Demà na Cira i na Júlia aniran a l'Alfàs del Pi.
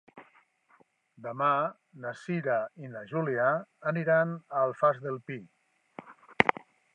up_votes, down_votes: 2, 0